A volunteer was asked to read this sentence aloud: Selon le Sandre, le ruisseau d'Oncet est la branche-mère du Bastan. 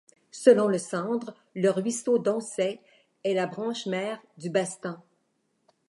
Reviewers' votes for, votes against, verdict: 2, 0, accepted